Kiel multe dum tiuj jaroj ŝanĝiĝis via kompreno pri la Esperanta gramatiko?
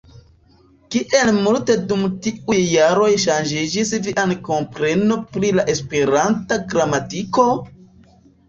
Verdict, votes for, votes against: rejected, 0, 2